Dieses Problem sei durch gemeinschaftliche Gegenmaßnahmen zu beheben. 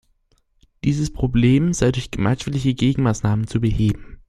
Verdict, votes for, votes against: accepted, 2, 0